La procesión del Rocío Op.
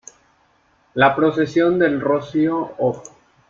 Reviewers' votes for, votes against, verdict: 2, 0, accepted